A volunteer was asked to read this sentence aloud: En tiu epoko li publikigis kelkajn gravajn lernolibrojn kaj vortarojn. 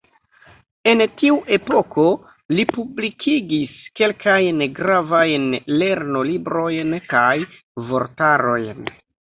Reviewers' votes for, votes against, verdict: 0, 2, rejected